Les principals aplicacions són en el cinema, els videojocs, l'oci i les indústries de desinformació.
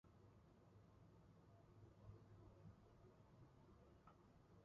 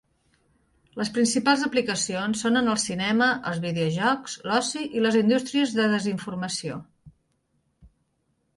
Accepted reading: second